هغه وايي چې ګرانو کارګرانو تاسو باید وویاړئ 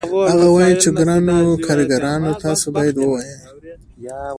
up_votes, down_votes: 2, 0